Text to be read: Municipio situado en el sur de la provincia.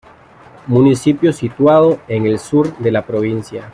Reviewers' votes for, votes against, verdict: 2, 0, accepted